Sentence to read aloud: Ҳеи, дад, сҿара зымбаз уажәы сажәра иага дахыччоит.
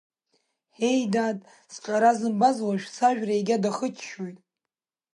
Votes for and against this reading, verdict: 4, 1, accepted